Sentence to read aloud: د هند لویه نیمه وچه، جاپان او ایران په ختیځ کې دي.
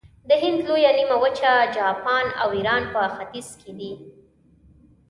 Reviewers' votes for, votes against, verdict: 2, 0, accepted